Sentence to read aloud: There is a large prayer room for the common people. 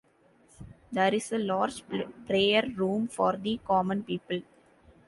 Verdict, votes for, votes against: accepted, 2, 0